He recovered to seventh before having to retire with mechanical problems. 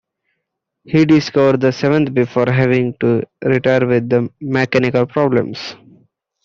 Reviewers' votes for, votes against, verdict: 0, 2, rejected